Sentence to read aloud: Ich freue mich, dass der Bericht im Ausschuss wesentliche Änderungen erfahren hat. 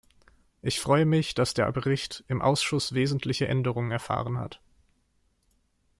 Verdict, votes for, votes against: accepted, 2, 0